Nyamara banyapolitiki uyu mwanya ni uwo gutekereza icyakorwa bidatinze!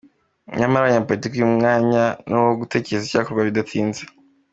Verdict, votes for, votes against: accepted, 2, 0